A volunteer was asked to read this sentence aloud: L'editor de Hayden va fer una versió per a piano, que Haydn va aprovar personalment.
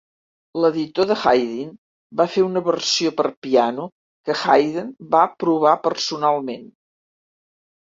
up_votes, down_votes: 0, 2